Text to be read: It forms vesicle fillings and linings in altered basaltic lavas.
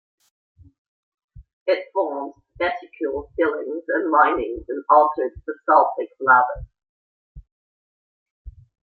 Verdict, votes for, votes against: rejected, 1, 2